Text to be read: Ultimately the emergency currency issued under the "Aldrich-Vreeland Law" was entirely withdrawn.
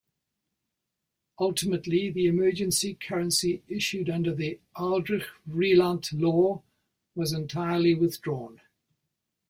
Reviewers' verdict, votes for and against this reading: accepted, 2, 0